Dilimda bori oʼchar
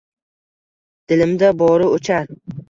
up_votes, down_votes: 2, 0